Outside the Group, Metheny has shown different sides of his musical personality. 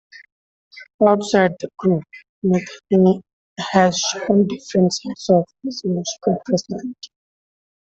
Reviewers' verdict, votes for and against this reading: rejected, 0, 2